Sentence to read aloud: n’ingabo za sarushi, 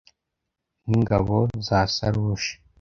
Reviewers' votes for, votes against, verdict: 2, 0, accepted